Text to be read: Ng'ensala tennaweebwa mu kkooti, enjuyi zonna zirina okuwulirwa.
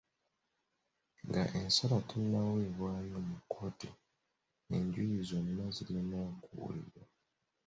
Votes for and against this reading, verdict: 0, 2, rejected